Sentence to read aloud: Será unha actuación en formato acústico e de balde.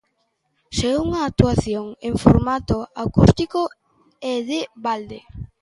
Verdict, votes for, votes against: rejected, 0, 2